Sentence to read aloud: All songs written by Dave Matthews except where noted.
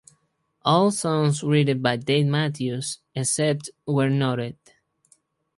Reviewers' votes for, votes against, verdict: 4, 0, accepted